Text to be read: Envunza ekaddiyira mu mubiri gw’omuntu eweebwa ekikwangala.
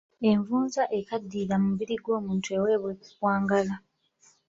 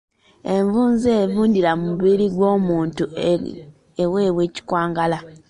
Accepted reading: first